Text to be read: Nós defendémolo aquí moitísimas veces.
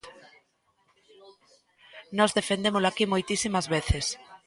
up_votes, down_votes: 2, 0